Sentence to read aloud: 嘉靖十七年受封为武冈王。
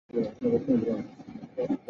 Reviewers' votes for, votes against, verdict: 0, 2, rejected